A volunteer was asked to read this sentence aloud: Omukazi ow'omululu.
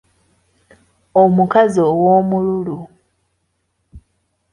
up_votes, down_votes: 2, 0